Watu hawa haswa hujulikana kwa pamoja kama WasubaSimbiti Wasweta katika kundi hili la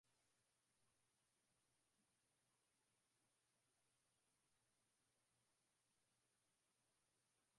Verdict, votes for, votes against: rejected, 0, 5